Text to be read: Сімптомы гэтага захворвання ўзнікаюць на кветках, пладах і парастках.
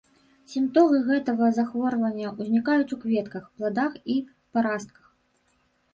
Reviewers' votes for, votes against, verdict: 1, 2, rejected